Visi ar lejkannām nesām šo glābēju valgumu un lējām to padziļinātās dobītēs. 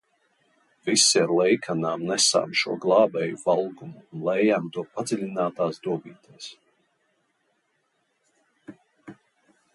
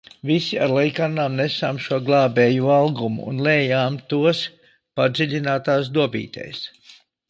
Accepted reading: first